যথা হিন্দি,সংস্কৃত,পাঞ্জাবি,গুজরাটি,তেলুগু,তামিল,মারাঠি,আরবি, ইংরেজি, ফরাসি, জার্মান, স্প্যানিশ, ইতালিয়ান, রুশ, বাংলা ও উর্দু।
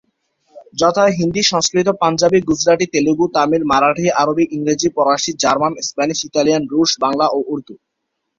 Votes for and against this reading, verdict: 2, 0, accepted